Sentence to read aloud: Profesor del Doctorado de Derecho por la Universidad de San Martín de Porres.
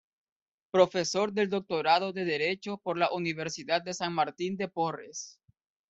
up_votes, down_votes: 2, 0